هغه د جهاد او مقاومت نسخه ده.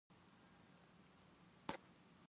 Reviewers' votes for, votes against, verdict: 1, 2, rejected